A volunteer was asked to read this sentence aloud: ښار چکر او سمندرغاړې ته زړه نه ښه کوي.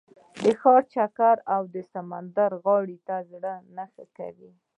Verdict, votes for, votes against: rejected, 1, 2